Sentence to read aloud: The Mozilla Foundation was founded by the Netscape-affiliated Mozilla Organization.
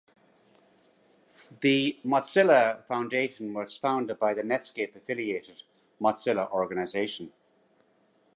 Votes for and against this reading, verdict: 2, 1, accepted